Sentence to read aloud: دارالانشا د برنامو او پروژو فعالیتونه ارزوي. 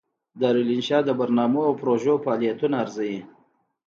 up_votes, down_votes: 2, 0